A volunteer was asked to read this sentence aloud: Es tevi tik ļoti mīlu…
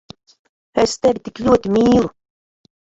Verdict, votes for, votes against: rejected, 2, 3